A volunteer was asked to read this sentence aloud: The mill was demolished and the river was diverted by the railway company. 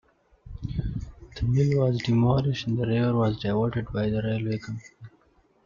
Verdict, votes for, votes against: accepted, 2, 1